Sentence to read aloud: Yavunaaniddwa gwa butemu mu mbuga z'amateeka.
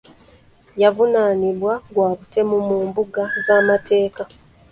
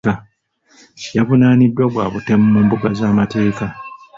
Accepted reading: second